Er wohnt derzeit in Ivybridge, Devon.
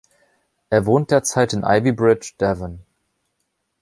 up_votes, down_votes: 2, 0